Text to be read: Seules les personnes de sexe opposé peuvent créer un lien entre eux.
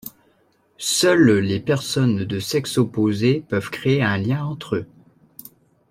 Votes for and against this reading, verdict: 2, 0, accepted